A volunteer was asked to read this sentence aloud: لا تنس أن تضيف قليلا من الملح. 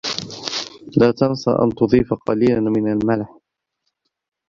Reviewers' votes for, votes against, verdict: 0, 2, rejected